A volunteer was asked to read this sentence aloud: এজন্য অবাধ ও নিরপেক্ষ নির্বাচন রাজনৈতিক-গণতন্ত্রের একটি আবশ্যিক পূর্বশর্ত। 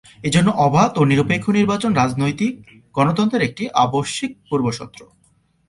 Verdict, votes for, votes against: rejected, 0, 2